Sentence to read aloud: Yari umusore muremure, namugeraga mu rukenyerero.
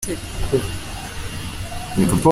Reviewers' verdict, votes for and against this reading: rejected, 0, 2